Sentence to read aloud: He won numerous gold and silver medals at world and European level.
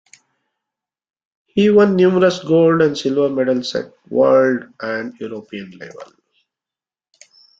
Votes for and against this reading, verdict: 1, 2, rejected